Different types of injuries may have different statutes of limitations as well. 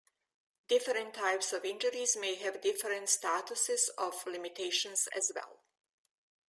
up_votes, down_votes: 0, 2